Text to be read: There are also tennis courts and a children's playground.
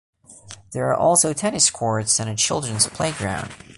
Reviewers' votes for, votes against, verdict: 2, 0, accepted